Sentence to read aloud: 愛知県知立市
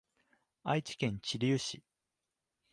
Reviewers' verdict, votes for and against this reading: accepted, 2, 0